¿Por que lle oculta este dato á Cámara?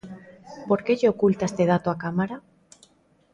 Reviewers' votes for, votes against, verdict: 2, 0, accepted